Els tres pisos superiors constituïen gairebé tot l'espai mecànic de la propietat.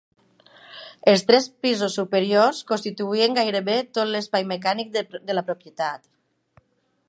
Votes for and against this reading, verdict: 0, 2, rejected